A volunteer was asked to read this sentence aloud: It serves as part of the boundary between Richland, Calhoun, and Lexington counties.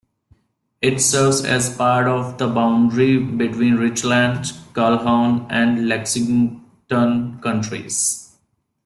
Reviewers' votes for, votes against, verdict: 2, 1, accepted